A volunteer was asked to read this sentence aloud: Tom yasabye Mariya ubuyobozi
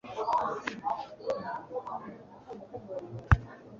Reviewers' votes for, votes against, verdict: 0, 2, rejected